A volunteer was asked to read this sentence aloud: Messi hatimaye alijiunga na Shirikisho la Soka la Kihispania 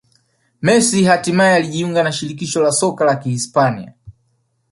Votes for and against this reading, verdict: 4, 1, accepted